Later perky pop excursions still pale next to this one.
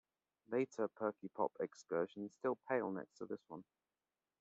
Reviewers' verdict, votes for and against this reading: accepted, 2, 0